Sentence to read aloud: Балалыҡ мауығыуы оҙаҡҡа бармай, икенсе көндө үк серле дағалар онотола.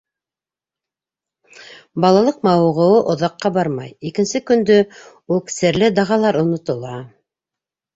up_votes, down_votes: 1, 2